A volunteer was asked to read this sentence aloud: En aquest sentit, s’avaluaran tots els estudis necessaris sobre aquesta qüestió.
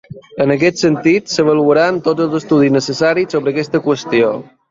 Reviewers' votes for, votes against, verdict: 3, 0, accepted